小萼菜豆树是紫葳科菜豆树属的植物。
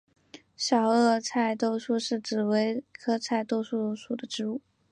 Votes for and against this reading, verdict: 5, 0, accepted